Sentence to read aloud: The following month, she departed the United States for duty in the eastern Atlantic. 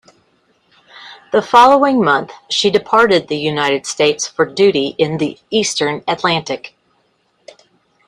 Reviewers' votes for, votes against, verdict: 2, 0, accepted